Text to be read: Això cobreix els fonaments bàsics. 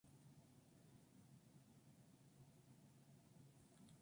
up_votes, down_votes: 0, 2